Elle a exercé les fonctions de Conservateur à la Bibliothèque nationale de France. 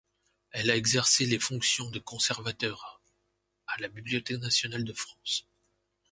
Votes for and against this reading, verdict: 2, 1, accepted